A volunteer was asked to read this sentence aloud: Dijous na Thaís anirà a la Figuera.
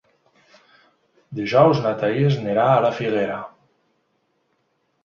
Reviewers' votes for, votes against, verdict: 1, 2, rejected